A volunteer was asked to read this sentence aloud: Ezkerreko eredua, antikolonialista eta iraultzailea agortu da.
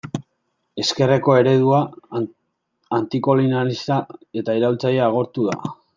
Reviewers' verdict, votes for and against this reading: rejected, 0, 2